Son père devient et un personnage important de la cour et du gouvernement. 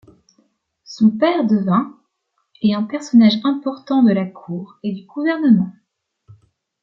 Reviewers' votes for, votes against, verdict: 1, 2, rejected